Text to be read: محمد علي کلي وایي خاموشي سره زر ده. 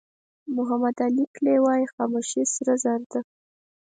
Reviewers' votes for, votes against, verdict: 8, 0, accepted